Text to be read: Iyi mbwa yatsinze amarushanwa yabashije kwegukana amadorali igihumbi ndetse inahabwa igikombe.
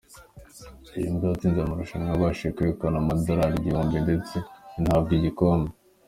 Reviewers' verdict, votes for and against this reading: accepted, 3, 0